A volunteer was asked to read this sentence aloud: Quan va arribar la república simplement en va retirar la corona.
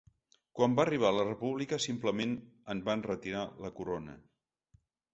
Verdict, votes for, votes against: rejected, 1, 2